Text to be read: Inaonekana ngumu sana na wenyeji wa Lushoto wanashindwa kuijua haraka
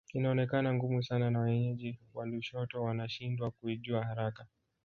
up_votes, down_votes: 2, 0